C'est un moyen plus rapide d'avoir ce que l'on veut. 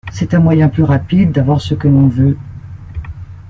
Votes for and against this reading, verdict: 2, 0, accepted